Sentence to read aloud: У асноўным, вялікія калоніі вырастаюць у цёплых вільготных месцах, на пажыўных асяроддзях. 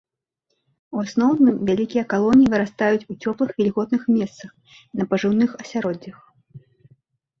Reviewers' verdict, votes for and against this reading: accepted, 2, 0